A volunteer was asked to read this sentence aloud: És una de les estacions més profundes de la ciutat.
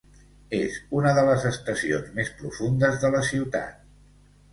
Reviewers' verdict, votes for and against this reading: accepted, 2, 0